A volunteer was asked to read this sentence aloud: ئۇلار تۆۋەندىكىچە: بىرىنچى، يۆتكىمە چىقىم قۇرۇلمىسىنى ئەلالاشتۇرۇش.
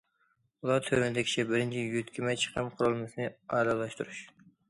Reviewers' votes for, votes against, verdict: 1, 2, rejected